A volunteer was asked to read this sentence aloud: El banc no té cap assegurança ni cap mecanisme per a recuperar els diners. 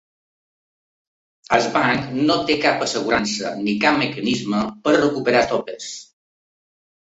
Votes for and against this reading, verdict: 0, 2, rejected